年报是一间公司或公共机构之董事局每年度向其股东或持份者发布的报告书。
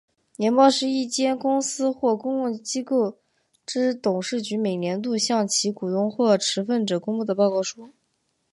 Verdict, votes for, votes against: accepted, 3, 0